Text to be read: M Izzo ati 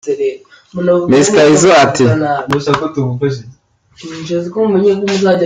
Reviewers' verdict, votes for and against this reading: rejected, 0, 2